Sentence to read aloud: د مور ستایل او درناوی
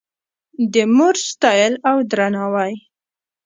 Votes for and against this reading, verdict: 0, 2, rejected